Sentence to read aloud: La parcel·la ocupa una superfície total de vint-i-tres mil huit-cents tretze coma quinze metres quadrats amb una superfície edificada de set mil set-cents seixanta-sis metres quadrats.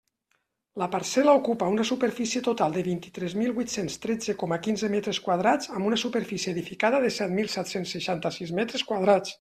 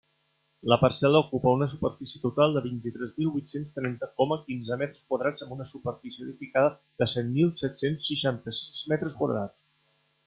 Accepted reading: first